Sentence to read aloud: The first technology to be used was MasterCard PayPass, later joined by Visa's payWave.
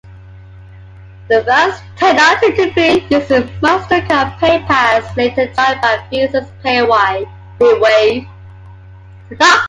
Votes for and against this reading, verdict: 1, 2, rejected